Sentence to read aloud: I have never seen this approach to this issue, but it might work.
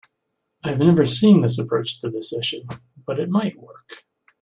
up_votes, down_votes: 2, 0